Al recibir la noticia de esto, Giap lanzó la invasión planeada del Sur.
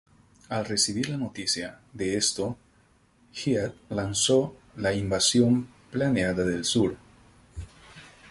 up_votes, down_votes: 0, 2